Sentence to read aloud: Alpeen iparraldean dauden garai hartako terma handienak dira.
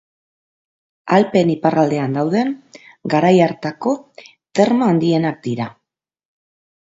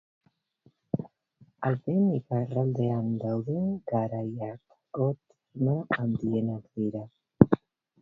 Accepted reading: first